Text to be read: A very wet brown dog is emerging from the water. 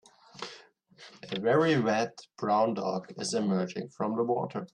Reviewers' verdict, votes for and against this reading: accepted, 2, 0